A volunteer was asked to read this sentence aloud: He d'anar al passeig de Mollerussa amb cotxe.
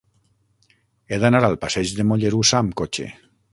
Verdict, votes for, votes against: accepted, 6, 0